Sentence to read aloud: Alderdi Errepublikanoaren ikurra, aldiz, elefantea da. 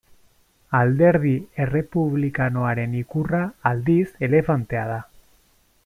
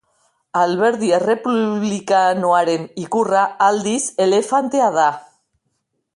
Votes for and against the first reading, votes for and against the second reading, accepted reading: 2, 0, 0, 2, first